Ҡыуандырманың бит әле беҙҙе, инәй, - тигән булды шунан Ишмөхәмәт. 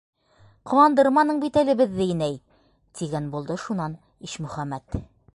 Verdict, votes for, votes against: accepted, 3, 0